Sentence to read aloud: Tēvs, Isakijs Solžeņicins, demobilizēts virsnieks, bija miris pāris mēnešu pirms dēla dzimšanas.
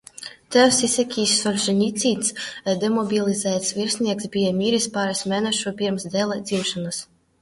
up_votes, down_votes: 2, 0